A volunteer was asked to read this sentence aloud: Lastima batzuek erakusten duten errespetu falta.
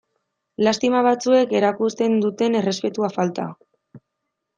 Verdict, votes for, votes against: accepted, 2, 0